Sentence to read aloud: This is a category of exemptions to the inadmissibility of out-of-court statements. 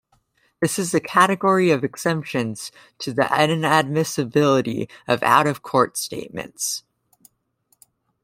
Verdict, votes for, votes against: rejected, 1, 2